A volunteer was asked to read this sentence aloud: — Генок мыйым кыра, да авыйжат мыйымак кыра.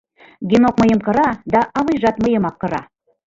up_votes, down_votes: 1, 2